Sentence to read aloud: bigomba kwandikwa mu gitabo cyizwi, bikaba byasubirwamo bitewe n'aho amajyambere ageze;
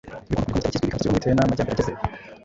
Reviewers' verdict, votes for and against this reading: rejected, 0, 2